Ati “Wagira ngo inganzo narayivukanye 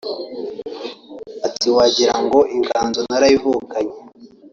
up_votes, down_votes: 2, 1